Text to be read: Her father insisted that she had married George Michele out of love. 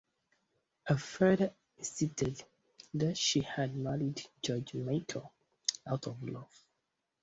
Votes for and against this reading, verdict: 0, 2, rejected